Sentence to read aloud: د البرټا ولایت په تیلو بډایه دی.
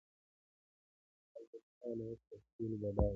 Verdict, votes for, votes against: rejected, 1, 2